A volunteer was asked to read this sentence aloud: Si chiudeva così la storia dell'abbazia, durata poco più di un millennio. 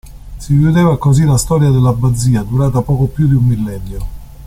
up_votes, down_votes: 2, 0